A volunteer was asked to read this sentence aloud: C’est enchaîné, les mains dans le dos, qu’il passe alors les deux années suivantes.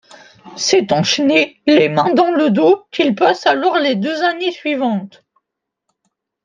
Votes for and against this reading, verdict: 2, 0, accepted